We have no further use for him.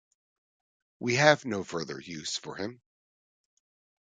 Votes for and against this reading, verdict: 3, 0, accepted